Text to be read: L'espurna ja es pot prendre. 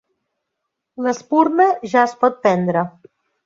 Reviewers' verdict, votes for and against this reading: rejected, 1, 2